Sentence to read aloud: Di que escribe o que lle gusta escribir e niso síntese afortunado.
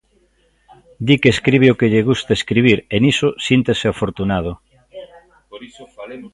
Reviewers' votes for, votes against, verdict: 0, 2, rejected